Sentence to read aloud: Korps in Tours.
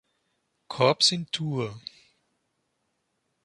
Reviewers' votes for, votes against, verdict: 0, 2, rejected